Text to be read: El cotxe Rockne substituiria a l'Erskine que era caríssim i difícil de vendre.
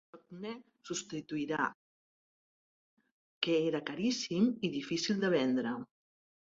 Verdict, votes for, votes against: rejected, 0, 3